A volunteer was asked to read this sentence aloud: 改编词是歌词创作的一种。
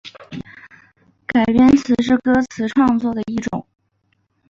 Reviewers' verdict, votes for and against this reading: accepted, 2, 0